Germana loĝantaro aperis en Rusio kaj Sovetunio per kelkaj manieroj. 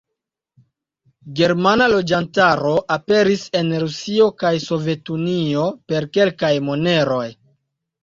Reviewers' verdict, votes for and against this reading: rejected, 1, 2